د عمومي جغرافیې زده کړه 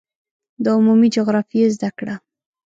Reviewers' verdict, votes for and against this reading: accepted, 2, 0